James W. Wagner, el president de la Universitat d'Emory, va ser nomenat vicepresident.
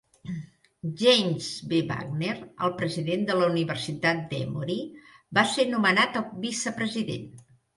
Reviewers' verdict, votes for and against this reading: accepted, 2, 0